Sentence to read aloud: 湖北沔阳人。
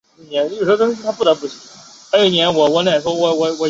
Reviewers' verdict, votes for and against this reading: rejected, 0, 2